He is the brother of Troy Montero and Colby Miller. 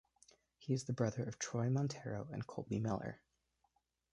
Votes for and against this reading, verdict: 2, 0, accepted